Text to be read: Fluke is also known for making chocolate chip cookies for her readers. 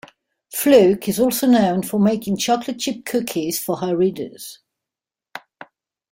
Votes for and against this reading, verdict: 2, 0, accepted